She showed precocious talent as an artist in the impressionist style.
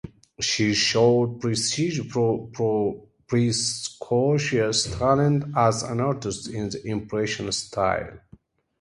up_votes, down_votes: 0, 2